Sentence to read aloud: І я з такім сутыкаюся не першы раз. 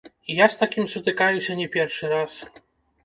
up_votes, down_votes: 0, 2